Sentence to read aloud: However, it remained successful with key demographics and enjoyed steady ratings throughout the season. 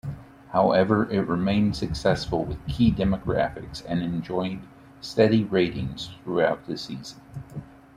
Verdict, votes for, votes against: accepted, 2, 0